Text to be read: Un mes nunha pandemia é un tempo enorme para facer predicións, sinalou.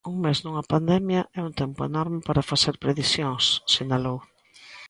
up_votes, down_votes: 2, 0